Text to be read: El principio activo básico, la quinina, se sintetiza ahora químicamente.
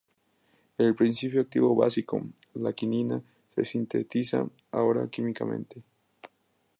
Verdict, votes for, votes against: accepted, 2, 0